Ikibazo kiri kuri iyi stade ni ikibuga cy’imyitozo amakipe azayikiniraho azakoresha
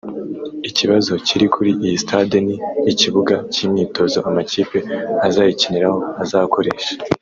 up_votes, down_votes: 1, 2